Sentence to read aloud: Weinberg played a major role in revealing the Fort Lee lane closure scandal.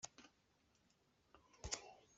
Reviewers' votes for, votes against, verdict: 0, 2, rejected